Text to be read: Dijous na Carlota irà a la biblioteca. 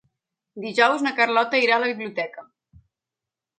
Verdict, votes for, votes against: accepted, 3, 0